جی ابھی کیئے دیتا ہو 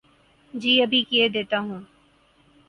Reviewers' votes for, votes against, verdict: 4, 0, accepted